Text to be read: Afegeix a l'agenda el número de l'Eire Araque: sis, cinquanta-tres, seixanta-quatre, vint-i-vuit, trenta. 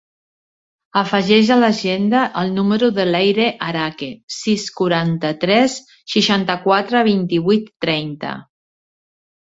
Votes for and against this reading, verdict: 2, 1, accepted